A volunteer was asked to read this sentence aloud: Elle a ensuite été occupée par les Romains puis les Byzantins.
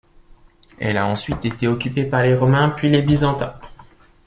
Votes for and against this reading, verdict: 2, 0, accepted